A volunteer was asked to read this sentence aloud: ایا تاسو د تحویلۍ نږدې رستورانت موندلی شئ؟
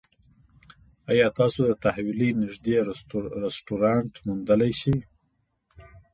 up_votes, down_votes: 0, 2